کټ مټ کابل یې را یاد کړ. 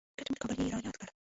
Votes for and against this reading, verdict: 0, 2, rejected